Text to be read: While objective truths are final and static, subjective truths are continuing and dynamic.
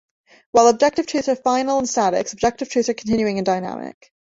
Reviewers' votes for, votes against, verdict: 1, 2, rejected